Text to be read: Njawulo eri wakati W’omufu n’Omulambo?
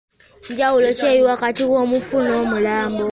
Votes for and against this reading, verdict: 2, 1, accepted